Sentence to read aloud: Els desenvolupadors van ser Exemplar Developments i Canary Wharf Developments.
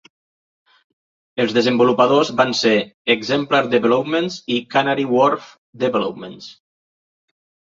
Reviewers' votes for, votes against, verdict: 2, 0, accepted